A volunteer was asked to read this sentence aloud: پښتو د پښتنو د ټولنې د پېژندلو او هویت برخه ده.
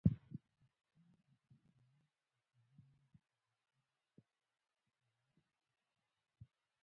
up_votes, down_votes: 2, 0